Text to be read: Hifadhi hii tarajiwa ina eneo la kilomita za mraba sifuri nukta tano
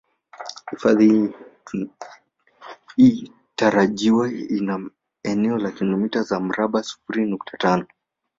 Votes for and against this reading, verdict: 0, 2, rejected